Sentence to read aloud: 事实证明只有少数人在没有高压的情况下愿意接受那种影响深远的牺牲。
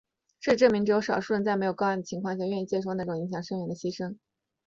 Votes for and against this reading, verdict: 2, 0, accepted